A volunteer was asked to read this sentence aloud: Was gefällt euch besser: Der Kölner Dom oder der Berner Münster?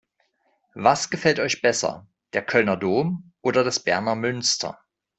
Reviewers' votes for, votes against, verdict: 0, 2, rejected